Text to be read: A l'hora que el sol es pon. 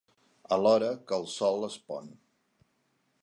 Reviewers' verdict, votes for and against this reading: accepted, 2, 0